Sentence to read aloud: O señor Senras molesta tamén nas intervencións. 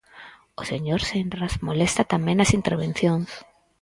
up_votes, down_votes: 4, 0